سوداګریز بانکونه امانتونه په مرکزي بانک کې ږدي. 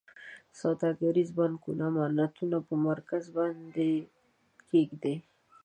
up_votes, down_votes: 0, 2